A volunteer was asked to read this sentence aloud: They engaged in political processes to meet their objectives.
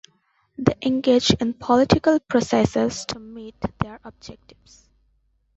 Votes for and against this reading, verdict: 2, 1, accepted